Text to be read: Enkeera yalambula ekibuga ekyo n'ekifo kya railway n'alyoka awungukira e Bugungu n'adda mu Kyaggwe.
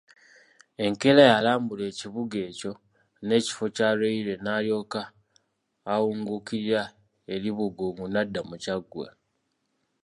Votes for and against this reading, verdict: 2, 0, accepted